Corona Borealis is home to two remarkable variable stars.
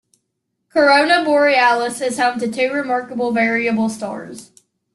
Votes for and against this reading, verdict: 3, 1, accepted